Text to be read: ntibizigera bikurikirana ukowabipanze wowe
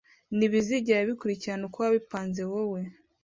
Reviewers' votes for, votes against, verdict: 2, 0, accepted